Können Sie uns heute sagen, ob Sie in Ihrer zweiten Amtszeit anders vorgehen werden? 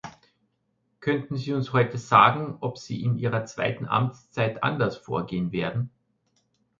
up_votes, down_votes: 1, 2